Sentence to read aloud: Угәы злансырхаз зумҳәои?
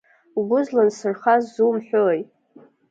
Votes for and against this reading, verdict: 1, 2, rejected